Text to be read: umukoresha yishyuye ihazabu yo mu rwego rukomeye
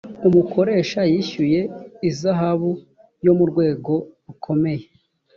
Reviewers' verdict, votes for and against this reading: rejected, 1, 2